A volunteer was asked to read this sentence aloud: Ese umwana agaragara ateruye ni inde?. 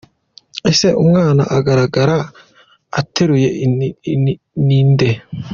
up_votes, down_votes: 1, 2